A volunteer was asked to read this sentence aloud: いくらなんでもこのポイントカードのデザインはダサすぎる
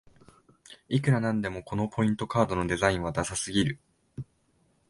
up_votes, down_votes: 2, 0